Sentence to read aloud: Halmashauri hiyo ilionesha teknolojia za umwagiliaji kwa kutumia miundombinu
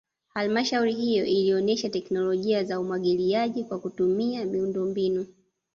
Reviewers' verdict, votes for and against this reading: accepted, 2, 0